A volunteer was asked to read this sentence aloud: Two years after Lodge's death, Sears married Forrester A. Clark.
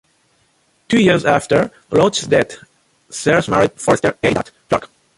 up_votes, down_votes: 0, 3